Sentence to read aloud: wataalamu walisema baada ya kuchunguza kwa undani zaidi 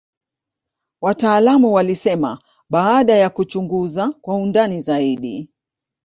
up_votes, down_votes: 2, 0